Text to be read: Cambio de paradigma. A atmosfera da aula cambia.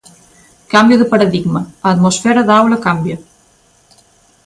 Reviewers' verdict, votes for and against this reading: accepted, 2, 0